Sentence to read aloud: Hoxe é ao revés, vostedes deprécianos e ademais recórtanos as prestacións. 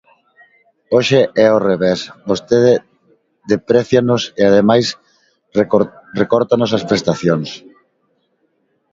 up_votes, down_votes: 0, 2